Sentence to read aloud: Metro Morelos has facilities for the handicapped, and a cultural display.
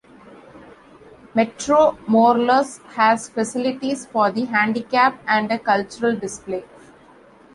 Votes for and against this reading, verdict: 2, 0, accepted